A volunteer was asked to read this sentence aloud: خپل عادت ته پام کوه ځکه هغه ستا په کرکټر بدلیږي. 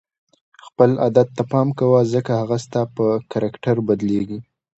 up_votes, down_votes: 2, 0